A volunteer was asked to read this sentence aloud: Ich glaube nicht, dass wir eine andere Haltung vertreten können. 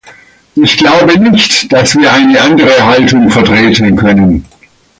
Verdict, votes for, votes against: rejected, 0, 2